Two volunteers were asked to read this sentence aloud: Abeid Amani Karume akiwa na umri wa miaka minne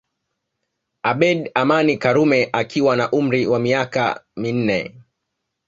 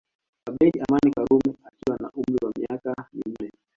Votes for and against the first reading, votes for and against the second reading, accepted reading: 2, 0, 1, 2, first